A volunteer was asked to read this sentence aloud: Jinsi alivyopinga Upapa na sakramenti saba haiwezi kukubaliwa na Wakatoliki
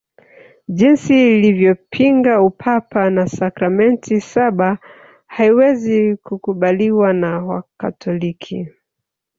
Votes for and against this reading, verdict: 1, 2, rejected